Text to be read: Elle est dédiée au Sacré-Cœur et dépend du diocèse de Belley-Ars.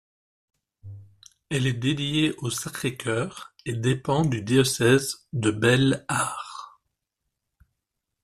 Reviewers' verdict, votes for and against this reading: rejected, 1, 2